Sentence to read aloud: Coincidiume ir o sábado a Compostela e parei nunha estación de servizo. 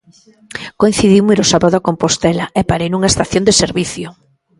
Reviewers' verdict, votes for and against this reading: rejected, 0, 2